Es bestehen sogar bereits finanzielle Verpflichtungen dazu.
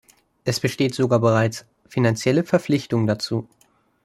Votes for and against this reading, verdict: 0, 2, rejected